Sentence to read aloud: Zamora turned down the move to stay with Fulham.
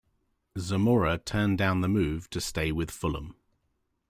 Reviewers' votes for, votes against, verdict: 2, 0, accepted